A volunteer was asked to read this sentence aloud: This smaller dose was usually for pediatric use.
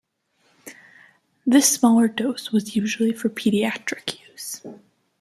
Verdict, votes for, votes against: accepted, 2, 0